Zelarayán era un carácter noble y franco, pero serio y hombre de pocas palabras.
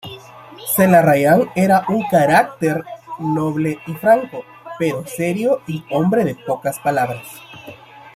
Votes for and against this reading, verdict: 0, 2, rejected